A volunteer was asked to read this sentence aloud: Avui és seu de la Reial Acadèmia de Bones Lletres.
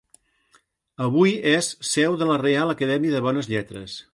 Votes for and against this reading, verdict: 2, 0, accepted